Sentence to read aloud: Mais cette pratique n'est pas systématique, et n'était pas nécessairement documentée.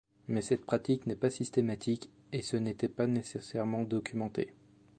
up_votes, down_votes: 1, 2